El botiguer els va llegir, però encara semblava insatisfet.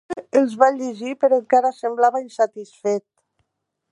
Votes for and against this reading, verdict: 0, 2, rejected